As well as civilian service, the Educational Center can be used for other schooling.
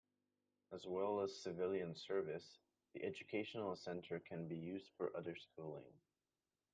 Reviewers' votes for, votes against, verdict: 2, 0, accepted